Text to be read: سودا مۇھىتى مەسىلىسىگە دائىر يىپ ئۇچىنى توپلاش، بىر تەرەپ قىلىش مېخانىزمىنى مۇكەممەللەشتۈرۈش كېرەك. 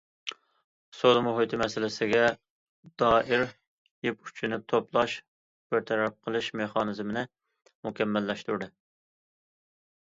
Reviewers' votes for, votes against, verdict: 0, 2, rejected